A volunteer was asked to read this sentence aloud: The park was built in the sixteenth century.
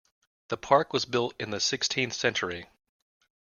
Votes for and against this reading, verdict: 2, 0, accepted